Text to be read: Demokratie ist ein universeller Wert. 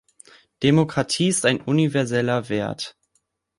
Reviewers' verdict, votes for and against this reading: accepted, 3, 0